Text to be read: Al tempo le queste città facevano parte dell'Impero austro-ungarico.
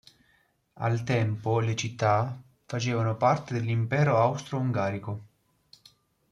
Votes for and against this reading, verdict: 0, 2, rejected